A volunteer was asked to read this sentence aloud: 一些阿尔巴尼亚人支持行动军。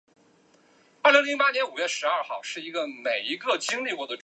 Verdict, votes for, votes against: rejected, 1, 2